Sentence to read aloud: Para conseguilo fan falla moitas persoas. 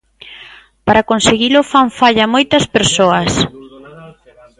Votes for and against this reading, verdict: 0, 2, rejected